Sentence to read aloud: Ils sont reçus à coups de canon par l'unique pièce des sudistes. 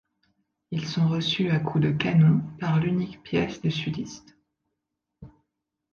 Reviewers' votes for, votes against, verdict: 2, 0, accepted